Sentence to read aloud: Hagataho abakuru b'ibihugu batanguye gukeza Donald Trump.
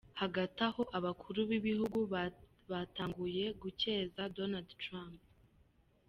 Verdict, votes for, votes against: rejected, 0, 2